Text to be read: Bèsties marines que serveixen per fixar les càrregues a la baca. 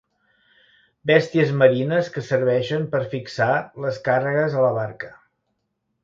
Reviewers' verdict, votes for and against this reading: rejected, 0, 2